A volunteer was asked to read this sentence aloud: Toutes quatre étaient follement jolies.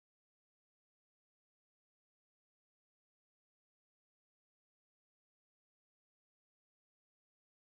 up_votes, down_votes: 0, 2